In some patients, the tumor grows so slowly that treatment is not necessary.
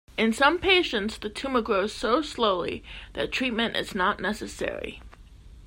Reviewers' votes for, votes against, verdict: 2, 0, accepted